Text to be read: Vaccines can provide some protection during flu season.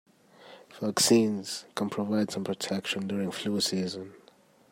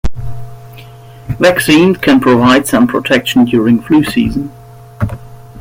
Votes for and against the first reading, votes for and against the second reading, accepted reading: 2, 0, 1, 2, first